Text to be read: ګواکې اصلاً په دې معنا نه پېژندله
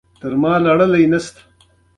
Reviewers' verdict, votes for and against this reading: accepted, 3, 1